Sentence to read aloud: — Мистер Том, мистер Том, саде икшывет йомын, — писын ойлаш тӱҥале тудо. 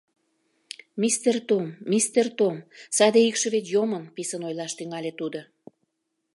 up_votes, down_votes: 2, 0